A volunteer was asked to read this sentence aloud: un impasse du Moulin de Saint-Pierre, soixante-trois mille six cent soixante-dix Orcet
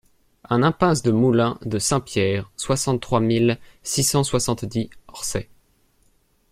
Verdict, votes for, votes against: accepted, 2, 0